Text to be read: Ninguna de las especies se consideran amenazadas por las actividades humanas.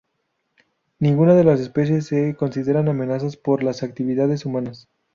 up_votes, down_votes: 0, 4